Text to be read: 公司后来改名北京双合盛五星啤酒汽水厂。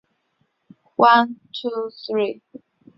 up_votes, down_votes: 0, 2